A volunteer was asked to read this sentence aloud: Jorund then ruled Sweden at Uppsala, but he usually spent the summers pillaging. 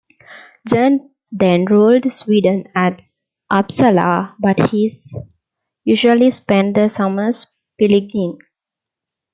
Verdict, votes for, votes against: rejected, 1, 2